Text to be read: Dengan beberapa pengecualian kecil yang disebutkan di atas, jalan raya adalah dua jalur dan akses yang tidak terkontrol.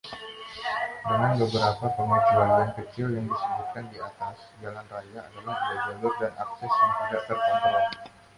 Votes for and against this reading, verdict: 0, 2, rejected